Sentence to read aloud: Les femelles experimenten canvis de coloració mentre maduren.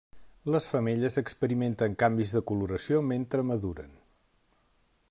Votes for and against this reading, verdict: 3, 0, accepted